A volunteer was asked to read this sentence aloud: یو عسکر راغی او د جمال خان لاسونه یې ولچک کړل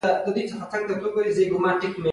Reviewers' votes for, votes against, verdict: 2, 0, accepted